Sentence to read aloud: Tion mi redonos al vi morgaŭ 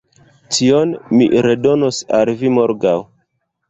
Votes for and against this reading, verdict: 2, 1, accepted